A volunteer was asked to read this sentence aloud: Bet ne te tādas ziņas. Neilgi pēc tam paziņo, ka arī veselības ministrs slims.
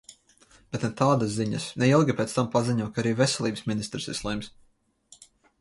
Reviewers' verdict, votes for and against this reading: rejected, 0, 2